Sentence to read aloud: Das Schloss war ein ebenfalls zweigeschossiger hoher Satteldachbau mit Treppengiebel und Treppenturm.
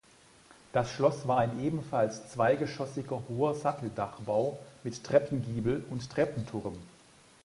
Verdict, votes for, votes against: accepted, 2, 0